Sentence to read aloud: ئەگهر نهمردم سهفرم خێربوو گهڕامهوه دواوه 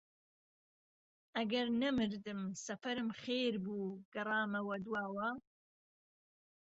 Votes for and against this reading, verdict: 1, 2, rejected